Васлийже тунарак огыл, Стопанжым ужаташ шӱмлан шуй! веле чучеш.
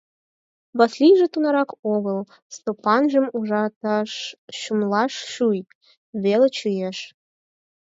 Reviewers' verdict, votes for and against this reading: rejected, 0, 4